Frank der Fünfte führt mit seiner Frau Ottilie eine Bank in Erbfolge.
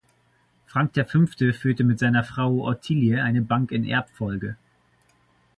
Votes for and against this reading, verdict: 1, 2, rejected